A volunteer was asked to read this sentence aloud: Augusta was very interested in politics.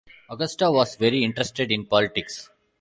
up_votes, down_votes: 2, 1